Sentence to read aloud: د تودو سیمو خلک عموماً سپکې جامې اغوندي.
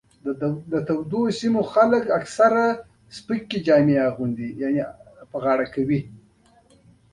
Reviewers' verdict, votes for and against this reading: accepted, 2, 1